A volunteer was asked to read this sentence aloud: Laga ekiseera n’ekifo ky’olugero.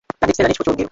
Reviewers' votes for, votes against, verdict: 0, 2, rejected